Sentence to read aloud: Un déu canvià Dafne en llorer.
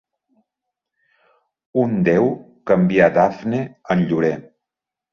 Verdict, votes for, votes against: accepted, 2, 0